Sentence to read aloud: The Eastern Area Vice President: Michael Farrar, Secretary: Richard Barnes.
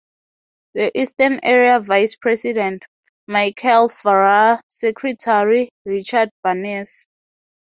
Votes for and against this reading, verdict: 0, 2, rejected